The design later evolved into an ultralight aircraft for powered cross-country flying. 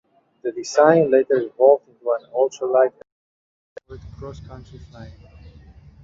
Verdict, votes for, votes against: rejected, 0, 2